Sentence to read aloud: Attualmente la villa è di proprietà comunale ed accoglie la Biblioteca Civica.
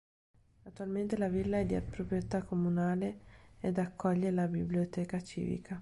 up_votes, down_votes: 1, 2